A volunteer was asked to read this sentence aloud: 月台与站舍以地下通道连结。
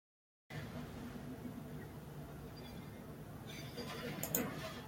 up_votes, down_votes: 0, 2